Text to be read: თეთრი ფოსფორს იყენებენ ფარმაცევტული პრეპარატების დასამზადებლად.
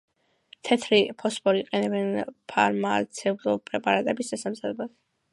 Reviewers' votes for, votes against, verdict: 2, 0, accepted